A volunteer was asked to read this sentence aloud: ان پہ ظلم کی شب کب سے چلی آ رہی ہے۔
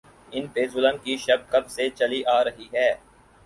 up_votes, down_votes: 4, 0